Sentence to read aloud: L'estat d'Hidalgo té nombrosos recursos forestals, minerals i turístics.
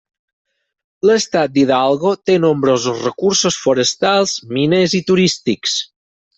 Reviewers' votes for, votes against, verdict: 0, 4, rejected